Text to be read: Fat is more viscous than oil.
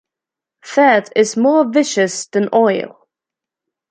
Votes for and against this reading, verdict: 1, 2, rejected